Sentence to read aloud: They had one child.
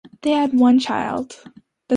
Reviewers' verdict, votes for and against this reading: accepted, 2, 0